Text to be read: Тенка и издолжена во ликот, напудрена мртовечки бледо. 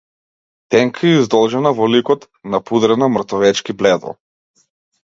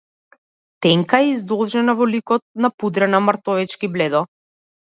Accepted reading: first